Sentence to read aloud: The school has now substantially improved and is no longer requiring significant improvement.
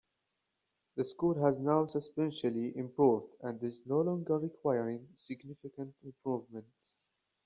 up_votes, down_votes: 2, 0